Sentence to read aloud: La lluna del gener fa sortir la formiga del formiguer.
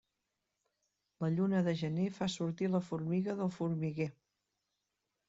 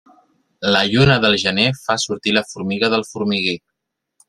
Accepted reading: first